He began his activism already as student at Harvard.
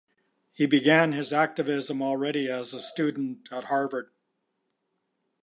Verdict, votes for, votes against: accepted, 2, 0